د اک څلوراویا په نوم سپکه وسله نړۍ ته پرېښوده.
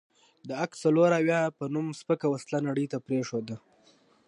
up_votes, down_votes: 2, 0